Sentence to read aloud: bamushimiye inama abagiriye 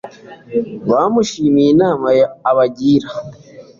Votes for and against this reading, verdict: 2, 1, accepted